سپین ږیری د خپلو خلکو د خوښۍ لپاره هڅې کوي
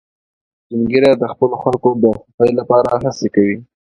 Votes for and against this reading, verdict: 2, 0, accepted